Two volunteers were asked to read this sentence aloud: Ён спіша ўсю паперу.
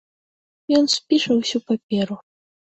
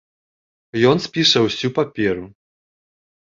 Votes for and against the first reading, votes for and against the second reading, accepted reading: 2, 0, 1, 2, first